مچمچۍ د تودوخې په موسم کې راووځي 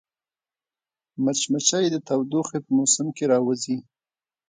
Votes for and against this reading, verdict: 2, 0, accepted